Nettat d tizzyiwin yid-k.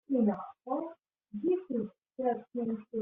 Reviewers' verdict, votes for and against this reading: rejected, 0, 2